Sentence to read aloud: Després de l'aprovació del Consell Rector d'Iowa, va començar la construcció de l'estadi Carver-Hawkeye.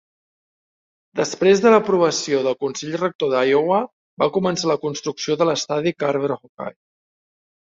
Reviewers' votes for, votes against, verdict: 2, 0, accepted